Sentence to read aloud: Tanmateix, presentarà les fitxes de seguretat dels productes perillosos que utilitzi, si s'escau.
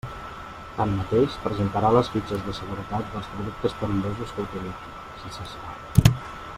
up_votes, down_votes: 2, 0